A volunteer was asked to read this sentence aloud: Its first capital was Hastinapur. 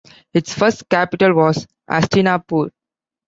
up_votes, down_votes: 2, 0